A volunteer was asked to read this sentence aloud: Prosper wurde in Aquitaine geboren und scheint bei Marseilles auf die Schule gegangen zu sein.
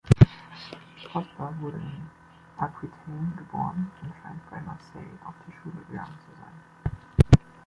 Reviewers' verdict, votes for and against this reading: rejected, 1, 2